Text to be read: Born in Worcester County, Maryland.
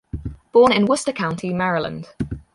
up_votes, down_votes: 0, 4